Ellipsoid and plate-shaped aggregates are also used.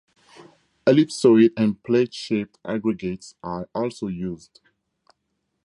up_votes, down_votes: 4, 0